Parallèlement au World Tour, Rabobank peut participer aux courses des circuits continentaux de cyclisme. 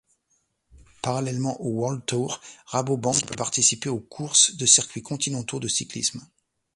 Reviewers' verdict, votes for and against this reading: rejected, 1, 2